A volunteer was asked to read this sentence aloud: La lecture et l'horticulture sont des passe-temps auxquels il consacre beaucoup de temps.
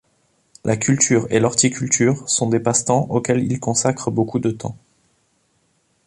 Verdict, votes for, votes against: rejected, 0, 2